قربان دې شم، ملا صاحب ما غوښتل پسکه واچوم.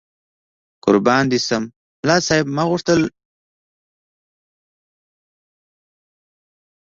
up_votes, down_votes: 1, 2